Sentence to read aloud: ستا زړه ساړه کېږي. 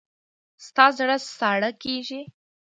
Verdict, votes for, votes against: accepted, 2, 0